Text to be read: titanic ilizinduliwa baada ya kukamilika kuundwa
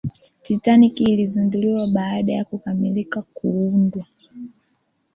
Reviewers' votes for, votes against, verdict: 2, 1, accepted